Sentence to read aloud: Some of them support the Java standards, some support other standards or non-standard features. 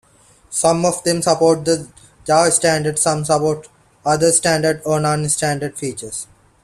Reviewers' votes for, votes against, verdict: 0, 2, rejected